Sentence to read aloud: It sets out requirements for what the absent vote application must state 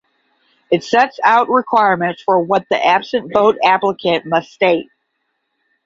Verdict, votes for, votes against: rejected, 0, 10